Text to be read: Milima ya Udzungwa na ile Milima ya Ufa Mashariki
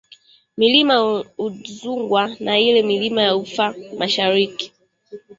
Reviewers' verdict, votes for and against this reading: rejected, 2, 3